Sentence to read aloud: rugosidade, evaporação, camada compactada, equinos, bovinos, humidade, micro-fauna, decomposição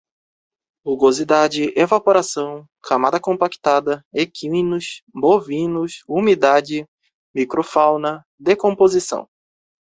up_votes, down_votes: 4, 0